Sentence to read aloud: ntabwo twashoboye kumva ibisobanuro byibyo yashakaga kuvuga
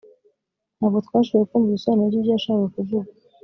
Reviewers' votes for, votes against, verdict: 2, 0, accepted